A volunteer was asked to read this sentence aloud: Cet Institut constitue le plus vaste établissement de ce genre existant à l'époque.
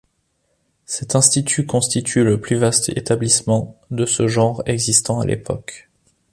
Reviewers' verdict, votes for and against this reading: accepted, 2, 0